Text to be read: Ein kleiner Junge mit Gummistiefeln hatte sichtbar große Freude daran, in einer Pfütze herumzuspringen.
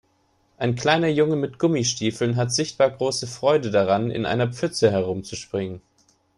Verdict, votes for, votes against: rejected, 1, 4